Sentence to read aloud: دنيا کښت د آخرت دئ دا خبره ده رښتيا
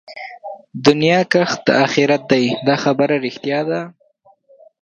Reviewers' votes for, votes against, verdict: 0, 2, rejected